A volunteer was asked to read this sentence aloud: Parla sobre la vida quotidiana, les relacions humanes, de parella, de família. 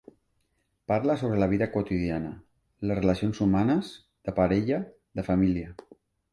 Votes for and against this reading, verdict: 3, 0, accepted